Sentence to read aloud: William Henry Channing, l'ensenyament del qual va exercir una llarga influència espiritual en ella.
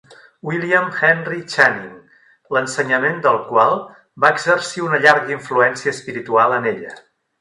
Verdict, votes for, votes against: rejected, 1, 2